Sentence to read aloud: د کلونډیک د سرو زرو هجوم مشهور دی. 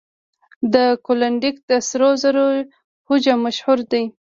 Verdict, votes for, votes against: accepted, 2, 0